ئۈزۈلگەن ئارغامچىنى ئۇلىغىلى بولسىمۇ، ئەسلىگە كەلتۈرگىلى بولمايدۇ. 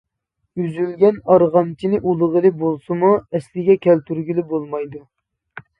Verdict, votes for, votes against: accepted, 2, 0